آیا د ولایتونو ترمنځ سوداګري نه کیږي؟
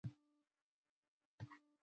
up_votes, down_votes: 0, 2